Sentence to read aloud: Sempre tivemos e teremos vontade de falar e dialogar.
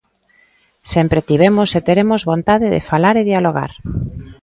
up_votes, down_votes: 2, 0